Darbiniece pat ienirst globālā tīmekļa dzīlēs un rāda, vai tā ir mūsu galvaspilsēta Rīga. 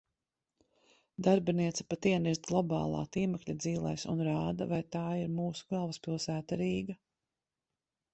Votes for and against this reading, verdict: 2, 0, accepted